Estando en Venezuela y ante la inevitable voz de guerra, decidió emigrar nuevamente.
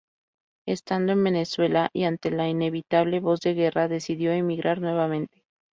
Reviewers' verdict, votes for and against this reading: rejected, 0, 2